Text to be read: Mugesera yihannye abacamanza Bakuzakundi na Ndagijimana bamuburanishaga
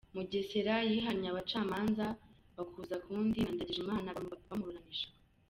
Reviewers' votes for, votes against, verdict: 1, 3, rejected